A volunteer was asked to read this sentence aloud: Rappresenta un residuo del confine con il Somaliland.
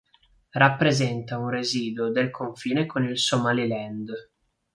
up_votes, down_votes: 2, 0